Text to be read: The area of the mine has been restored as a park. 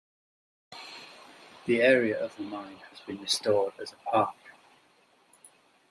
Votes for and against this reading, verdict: 2, 0, accepted